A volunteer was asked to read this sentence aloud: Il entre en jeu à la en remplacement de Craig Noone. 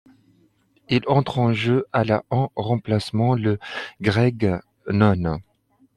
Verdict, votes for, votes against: accepted, 2, 0